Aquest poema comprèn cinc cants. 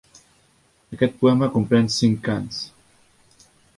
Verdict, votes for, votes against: accepted, 3, 0